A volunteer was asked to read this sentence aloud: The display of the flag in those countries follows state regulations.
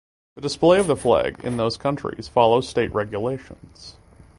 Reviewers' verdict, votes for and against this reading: accepted, 2, 0